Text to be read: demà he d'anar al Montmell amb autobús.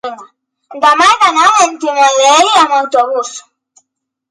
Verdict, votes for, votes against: rejected, 0, 2